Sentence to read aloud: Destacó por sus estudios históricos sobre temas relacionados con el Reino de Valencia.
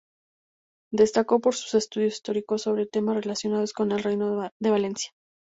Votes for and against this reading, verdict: 2, 0, accepted